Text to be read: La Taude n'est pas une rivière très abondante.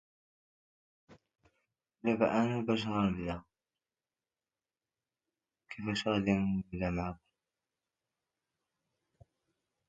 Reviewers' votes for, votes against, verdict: 0, 2, rejected